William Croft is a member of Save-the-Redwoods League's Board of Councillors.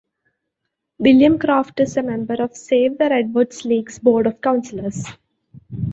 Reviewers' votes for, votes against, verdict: 2, 0, accepted